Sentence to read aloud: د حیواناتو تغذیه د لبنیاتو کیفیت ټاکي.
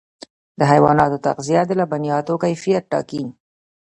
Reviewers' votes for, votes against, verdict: 1, 2, rejected